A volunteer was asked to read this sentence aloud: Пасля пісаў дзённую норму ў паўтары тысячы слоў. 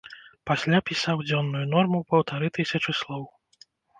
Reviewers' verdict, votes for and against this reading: accepted, 2, 0